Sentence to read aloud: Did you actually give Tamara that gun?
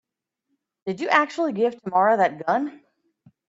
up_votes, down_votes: 2, 0